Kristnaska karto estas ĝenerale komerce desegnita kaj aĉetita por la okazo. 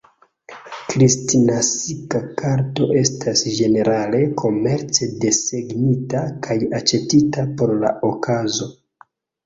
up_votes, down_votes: 0, 2